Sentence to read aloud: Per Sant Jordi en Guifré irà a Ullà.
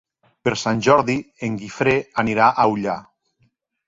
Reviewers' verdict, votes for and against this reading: rejected, 0, 2